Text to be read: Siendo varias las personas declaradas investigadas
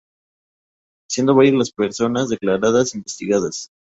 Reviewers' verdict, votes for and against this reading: rejected, 0, 2